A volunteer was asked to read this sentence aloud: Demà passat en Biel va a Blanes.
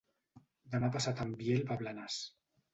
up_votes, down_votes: 1, 2